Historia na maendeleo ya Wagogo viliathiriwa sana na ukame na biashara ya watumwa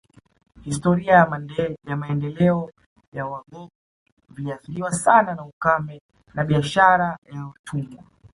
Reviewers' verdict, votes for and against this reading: rejected, 0, 2